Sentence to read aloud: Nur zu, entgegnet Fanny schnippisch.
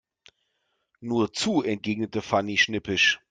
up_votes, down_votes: 0, 2